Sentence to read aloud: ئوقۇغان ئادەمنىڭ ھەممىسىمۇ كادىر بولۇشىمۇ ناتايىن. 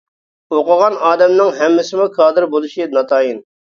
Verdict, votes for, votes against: rejected, 0, 2